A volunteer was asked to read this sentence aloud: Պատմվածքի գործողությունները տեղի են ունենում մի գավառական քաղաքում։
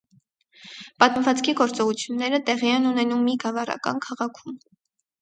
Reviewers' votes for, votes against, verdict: 4, 0, accepted